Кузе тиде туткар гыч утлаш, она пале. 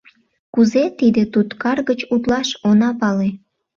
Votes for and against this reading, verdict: 2, 0, accepted